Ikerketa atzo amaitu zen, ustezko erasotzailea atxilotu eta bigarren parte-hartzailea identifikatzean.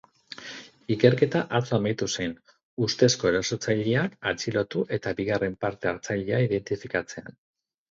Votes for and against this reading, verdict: 2, 2, rejected